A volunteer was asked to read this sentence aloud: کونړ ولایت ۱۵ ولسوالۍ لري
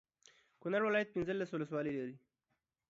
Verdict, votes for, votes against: rejected, 0, 2